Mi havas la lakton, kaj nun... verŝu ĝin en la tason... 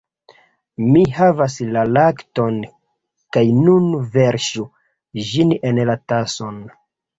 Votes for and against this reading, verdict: 0, 2, rejected